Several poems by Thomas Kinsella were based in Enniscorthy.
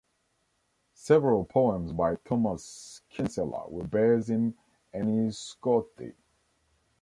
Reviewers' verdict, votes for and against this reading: accepted, 2, 1